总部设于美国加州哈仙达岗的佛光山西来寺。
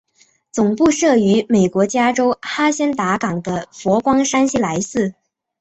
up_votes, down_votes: 2, 0